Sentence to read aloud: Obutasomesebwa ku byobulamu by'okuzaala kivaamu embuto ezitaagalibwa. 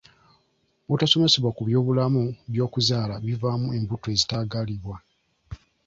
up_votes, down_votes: 2, 1